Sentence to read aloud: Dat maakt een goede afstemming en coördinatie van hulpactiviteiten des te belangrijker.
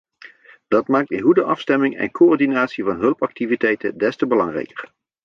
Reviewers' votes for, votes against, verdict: 2, 1, accepted